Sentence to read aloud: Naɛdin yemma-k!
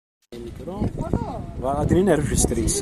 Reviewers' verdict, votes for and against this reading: rejected, 0, 2